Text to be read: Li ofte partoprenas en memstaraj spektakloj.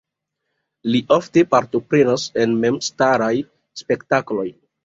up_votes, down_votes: 2, 0